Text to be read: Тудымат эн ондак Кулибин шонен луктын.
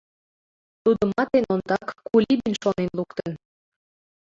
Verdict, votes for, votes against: accepted, 2, 1